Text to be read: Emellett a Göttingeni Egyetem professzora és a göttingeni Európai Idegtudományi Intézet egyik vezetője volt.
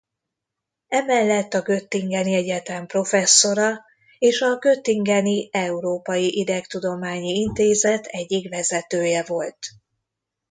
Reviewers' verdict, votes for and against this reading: rejected, 0, 2